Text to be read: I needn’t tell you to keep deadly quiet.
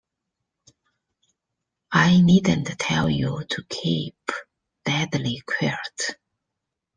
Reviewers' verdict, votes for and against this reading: rejected, 0, 2